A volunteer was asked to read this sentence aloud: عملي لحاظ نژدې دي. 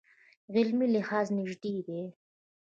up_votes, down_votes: 2, 1